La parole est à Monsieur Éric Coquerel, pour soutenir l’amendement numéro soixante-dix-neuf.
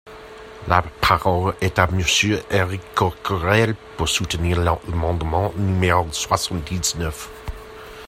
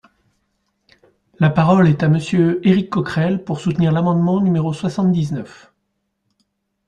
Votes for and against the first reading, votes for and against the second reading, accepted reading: 0, 2, 2, 0, second